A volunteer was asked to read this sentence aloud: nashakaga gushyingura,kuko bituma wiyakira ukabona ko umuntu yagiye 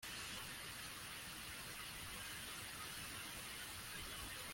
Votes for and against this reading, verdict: 0, 2, rejected